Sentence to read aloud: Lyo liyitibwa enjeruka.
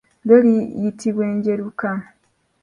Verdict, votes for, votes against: rejected, 1, 2